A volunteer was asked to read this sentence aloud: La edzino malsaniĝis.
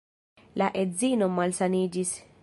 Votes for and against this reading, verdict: 0, 2, rejected